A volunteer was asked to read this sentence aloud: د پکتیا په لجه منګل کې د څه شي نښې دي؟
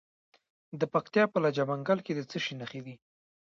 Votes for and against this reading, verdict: 0, 2, rejected